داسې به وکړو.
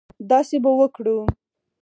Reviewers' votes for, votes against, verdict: 2, 4, rejected